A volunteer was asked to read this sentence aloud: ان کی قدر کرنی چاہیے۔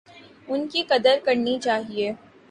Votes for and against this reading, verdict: 2, 0, accepted